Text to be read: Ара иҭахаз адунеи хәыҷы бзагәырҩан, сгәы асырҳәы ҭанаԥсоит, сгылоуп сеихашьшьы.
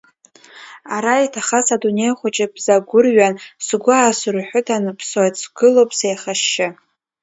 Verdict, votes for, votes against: accepted, 2, 0